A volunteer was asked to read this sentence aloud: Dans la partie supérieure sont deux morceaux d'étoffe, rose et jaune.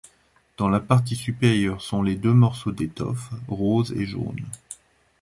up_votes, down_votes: 0, 2